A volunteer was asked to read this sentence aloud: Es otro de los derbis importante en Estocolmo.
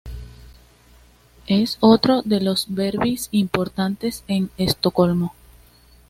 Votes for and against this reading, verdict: 2, 0, accepted